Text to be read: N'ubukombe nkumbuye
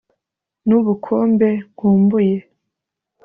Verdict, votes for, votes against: accepted, 3, 0